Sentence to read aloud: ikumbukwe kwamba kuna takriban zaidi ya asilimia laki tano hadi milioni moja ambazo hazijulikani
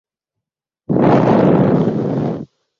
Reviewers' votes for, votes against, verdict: 0, 2, rejected